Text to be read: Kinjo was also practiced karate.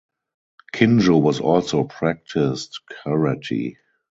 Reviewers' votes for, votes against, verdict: 2, 2, rejected